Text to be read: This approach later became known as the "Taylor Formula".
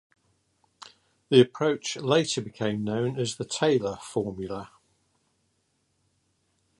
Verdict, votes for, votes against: rejected, 1, 2